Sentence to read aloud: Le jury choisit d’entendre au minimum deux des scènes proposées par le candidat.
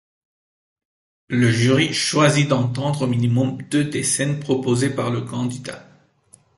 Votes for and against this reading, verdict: 2, 0, accepted